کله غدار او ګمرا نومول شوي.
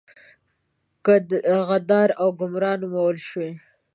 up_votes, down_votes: 0, 2